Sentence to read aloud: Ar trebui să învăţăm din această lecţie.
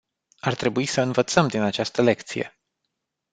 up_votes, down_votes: 2, 0